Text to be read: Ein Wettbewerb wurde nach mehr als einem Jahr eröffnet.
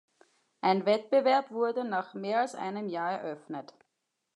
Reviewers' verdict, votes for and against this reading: accepted, 2, 0